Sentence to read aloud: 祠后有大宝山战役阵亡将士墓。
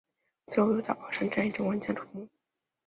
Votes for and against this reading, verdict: 0, 2, rejected